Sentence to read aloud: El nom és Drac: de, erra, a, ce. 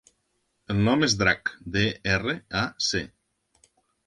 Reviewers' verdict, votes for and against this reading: rejected, 0, 2